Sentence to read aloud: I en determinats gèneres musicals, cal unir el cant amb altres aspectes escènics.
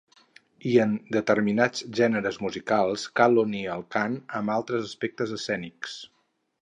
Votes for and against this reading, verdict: 0, 2, rejected